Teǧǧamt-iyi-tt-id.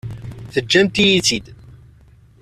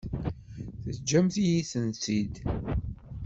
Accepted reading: first